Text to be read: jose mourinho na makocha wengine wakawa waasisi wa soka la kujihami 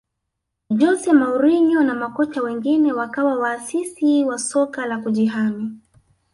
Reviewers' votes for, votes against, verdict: 2, 0, accepted